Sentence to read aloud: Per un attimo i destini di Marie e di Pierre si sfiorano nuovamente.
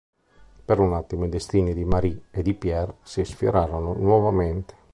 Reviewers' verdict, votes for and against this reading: rejected, 2, 3